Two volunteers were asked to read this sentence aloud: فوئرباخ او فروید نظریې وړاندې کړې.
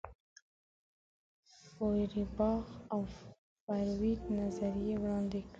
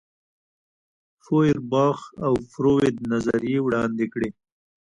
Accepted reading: second